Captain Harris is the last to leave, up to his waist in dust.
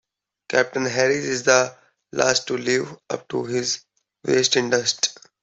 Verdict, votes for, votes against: accepted, 2, 1